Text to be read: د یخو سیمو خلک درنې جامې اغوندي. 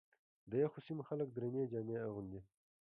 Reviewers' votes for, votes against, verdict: 2, 0, accepted